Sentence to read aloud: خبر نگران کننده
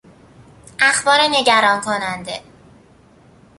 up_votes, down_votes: 1, 2